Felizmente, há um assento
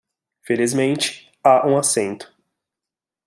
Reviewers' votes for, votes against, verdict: 2, 0, accepted